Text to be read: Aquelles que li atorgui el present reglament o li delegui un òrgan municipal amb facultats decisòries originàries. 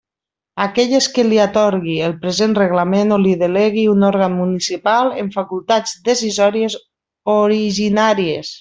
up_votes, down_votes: 0, 2